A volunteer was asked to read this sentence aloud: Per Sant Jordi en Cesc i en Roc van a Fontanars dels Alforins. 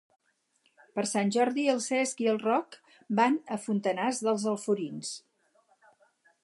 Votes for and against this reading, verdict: 2, 4, rejected